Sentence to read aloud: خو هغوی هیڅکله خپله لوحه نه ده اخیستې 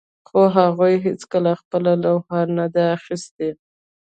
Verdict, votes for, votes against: accepted, 2, 0